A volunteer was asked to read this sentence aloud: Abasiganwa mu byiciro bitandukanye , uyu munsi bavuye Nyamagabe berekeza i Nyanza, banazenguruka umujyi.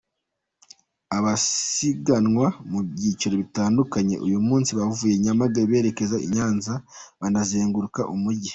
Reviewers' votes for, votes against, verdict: 2, 0, accepted